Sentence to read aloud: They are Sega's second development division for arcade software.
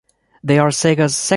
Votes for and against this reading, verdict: 0, 2, rejected